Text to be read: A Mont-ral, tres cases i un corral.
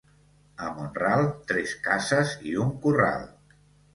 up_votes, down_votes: 1, 2